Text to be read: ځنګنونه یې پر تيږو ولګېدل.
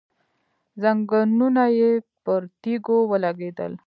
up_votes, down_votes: 1, 2